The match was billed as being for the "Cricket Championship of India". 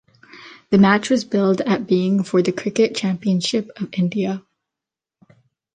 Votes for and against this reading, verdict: 1, 2, rejected